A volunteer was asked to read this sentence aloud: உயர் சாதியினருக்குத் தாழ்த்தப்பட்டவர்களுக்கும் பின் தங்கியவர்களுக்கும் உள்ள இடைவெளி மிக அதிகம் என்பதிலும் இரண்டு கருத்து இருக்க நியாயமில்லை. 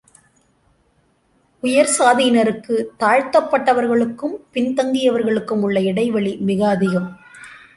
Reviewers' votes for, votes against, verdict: 0, 2, rejected